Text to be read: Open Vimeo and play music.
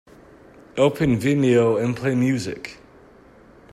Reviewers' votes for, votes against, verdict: 2, 0, accepted